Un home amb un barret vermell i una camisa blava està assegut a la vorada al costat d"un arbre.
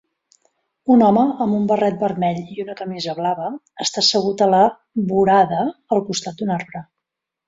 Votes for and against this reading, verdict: 2, 0, accepted